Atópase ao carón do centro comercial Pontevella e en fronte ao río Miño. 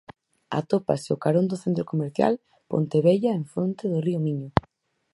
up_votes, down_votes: 4, 2